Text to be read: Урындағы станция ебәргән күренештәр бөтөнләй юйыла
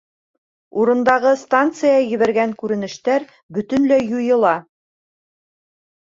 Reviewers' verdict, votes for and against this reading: rejected, 0, 2